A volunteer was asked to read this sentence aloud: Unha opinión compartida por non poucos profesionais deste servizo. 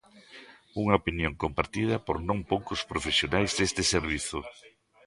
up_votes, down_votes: 2, 0